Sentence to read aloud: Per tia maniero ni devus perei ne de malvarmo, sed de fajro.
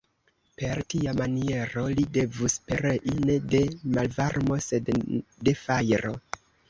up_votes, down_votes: 0, 2